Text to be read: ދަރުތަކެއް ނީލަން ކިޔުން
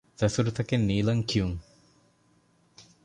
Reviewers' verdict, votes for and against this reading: rejected, 0, 2